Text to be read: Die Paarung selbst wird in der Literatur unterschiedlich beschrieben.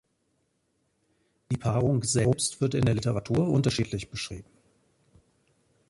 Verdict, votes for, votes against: accepted, 2, 0